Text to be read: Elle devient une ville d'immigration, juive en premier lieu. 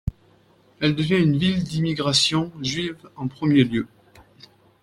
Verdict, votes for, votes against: accepted, 2, 0